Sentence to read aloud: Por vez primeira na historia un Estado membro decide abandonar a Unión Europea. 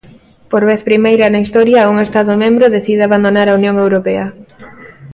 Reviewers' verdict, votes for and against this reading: accepted, 2, 0